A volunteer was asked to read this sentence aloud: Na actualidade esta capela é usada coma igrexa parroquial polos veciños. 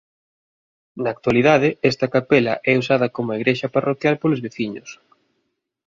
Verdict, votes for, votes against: accepted, 2, 1